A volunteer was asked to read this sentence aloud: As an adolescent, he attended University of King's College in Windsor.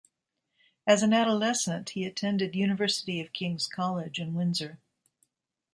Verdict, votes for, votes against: accepted, 2, 0